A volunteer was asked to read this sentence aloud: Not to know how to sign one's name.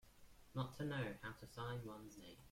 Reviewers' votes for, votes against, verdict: 0, 2, rejected